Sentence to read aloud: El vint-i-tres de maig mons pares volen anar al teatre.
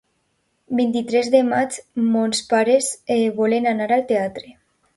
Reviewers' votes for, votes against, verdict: 0, 2, rejected